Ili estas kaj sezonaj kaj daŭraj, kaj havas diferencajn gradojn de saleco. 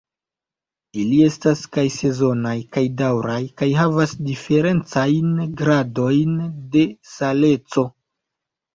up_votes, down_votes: 1, 2